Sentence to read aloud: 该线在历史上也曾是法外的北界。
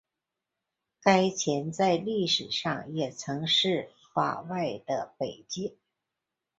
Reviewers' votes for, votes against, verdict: 2, 0, accepted